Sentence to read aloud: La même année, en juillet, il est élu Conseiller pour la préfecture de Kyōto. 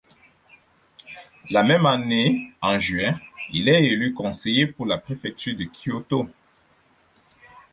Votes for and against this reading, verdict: 0, 4, rejected